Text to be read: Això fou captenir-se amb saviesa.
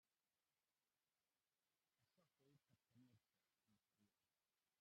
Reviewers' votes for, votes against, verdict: 0, 2, rejected